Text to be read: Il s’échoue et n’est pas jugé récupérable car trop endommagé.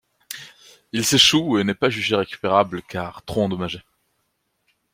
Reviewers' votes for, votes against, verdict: 2, 0, accepted